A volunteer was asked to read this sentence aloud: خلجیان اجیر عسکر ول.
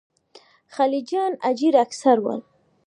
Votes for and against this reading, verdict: 0, 2, rejected